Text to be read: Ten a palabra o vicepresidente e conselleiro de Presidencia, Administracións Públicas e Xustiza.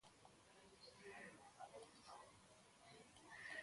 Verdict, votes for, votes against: rejected, 0, 2